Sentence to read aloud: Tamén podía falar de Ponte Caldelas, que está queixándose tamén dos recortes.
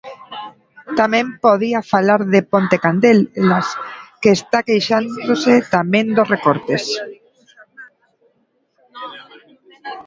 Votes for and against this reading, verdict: 0, 3, rejected